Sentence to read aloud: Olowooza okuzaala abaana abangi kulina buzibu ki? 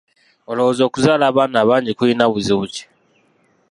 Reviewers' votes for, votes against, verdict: 0, 2, rejected